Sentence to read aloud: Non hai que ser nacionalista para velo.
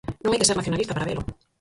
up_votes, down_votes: 0, 4